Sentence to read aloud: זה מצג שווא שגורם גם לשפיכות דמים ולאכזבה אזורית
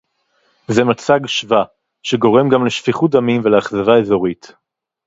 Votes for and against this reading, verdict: 0, 2, rejected